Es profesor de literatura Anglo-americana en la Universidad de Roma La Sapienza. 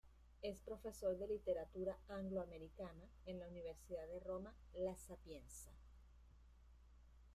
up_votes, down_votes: 0, 2